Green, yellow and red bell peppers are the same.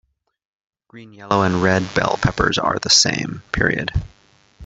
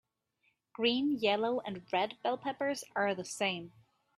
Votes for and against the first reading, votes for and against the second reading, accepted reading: 1, 2, 3, 0, second